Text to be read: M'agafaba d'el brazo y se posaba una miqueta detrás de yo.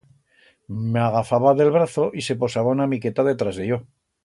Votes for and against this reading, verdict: 2, 0, accepted